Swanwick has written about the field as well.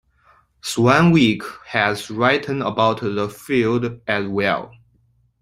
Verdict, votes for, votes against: accepted, 2, 1